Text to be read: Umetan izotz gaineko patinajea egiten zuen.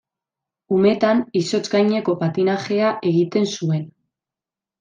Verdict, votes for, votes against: accepted, 2, 0